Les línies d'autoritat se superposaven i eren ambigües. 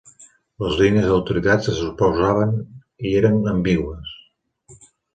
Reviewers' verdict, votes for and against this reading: rejected, 0, 2